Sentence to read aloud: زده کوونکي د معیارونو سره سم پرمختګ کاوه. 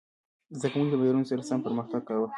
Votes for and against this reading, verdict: 2, 0, accepted